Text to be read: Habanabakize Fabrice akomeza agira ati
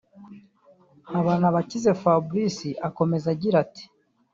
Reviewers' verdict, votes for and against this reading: rejected, 0, 2